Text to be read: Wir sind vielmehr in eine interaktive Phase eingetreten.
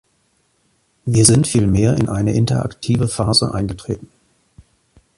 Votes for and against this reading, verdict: 2, 1, accepted